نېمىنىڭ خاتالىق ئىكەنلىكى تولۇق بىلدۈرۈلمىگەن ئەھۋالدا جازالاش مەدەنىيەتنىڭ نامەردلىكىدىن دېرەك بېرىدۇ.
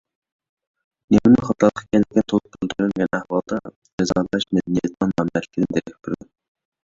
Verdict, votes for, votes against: rejected, 0, 2